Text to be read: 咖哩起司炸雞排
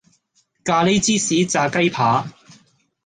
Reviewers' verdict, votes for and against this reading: rejected, 0, 2